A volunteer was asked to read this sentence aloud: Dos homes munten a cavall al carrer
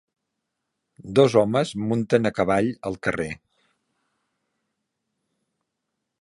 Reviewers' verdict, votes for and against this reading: accepted, 3, 0